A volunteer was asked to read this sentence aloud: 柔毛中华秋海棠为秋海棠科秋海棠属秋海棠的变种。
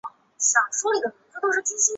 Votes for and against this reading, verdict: 0, 2, rejected